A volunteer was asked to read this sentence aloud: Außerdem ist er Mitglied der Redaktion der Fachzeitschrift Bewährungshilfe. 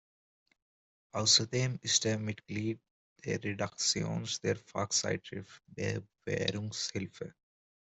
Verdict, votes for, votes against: rejected, 0, 2